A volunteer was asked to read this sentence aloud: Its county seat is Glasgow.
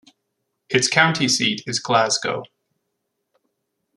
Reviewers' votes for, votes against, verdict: 2, 0, accepted